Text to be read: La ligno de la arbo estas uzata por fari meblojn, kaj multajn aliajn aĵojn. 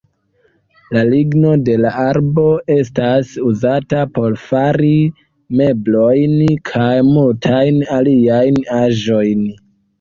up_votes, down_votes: 2, 1